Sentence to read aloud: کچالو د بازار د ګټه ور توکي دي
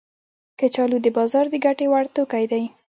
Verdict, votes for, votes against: rejected, 1, 2